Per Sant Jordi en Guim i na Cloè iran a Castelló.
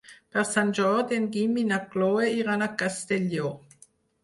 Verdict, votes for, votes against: rejected, 2, 4